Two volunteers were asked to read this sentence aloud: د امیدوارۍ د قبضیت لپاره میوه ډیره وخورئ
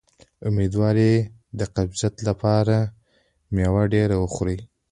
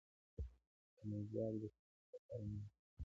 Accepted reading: first